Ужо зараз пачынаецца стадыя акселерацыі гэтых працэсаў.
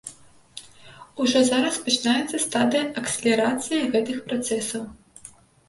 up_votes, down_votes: 2, 0